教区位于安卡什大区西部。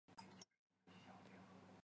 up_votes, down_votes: 0, 2